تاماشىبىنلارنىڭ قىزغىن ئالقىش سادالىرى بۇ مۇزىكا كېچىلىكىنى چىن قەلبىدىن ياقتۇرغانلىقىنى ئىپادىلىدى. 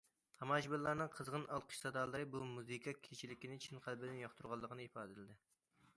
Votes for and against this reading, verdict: 2, 0, accepted